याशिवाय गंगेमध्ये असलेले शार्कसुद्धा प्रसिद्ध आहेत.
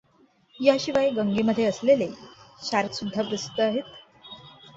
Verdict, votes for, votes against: accepted, 2, 1